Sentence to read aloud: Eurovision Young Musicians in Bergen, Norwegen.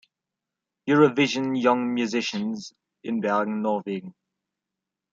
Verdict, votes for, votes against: accepted, 2, 0